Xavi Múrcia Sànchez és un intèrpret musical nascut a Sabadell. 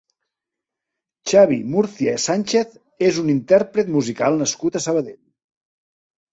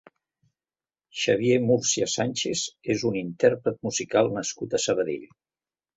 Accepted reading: first